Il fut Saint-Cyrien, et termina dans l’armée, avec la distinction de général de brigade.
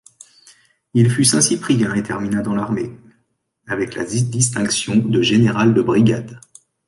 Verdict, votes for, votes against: rejected, 1, 2